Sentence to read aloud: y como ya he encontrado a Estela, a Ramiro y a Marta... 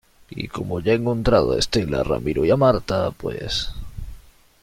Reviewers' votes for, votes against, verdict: 0, 2, rejected